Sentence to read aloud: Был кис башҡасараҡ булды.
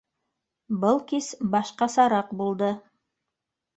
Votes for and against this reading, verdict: 2, 0, accepted